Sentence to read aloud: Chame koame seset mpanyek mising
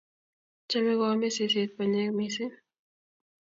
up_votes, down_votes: 2, 0